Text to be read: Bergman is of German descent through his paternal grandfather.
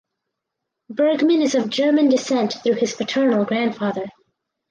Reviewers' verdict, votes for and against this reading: accepted, 4, 0